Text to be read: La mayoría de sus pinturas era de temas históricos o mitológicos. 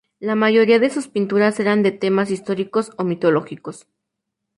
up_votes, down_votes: 2, 2